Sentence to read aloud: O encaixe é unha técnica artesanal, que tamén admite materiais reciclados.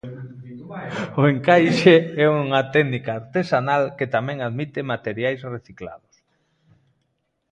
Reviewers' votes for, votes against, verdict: 0, 2, rejected